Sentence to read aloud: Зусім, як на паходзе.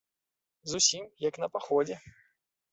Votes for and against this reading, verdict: 2, 0, accepted